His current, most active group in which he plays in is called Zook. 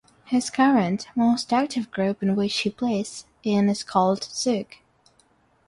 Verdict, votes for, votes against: accepted, 6, 0